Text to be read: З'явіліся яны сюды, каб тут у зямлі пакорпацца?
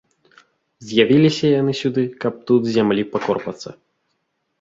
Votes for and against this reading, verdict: 1, 2, rejected